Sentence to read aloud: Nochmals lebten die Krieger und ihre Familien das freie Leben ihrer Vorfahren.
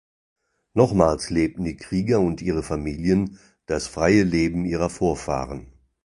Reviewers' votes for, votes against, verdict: 2, 0, accepted